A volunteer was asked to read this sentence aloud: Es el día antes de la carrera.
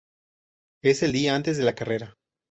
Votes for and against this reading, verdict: 2, 0, accepted